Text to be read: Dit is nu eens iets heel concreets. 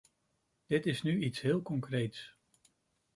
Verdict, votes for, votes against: rejected, 1, 2